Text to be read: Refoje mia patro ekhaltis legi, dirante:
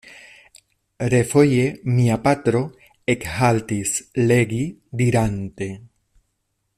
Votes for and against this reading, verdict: 2, 0, accepted